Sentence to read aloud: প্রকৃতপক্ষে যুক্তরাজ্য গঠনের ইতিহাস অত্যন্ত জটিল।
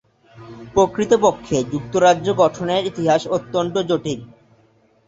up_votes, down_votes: 4, 0